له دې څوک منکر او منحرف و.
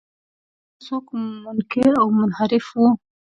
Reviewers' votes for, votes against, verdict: 0, 2, rejected